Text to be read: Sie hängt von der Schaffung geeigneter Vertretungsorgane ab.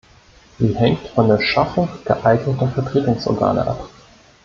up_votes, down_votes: 0, 2